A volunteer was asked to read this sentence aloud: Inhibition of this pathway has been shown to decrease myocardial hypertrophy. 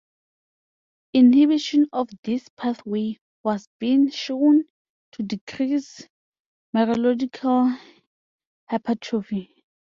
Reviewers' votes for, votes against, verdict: 0, 2, rejected